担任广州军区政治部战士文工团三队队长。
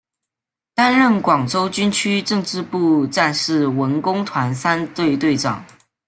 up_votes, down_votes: 0, 2